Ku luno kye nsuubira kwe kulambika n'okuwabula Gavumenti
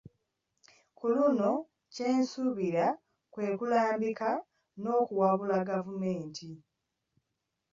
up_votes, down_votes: 2, 0